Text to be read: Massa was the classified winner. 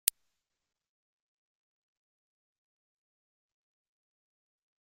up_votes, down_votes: 0, 3